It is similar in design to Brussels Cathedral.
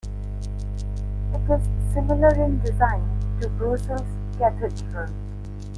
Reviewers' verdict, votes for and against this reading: rejected, 1, 2